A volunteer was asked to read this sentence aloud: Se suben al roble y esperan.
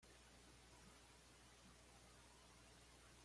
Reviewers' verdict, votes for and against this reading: rejected, 1, 2